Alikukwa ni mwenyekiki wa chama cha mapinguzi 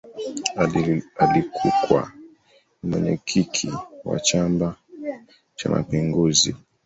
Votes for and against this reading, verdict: 0, 2, rejected